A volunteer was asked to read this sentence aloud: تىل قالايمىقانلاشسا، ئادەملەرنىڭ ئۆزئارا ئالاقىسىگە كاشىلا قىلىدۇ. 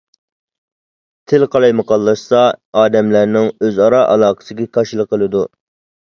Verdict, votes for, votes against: accepted, 2, 0